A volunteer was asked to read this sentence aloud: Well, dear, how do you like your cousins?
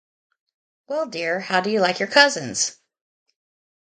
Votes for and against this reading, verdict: 0, 2, rejected